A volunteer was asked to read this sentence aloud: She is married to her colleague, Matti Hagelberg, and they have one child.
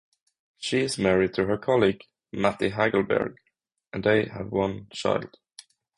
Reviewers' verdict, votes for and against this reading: accepted, 6, 0